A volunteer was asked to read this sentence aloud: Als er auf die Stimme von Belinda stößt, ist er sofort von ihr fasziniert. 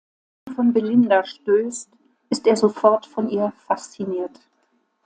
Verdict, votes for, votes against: rejected, 1, 2